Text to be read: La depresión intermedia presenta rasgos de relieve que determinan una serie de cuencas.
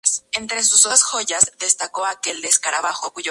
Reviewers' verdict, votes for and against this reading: rejected, 0, 2